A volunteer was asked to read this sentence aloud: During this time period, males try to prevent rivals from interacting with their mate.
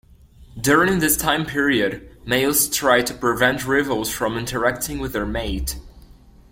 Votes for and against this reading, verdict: 2, 0, accepted